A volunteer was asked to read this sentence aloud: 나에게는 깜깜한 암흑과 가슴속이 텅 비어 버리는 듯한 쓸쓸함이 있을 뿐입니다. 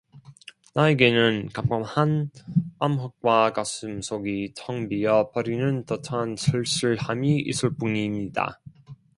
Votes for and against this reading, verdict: 2, 0, accepted